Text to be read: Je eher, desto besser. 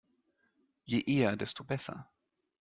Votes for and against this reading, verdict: 2, 0, accepted